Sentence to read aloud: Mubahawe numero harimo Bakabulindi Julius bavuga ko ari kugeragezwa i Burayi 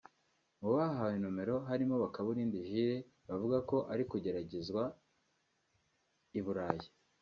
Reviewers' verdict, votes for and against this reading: accepted, 2, 0